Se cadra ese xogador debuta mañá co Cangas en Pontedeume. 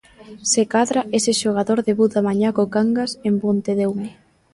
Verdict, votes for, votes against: accepted, 2, 1